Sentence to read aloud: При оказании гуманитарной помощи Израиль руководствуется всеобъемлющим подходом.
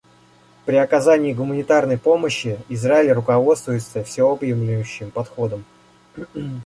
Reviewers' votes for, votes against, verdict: 1, 2, rejected